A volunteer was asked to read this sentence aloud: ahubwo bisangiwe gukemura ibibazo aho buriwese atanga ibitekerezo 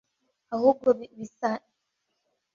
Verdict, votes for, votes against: rejected, 0, 2